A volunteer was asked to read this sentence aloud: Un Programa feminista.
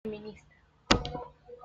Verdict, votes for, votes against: rejected, 1, 2